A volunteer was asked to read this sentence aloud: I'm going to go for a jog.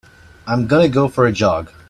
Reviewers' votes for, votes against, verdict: 0, 2, rejected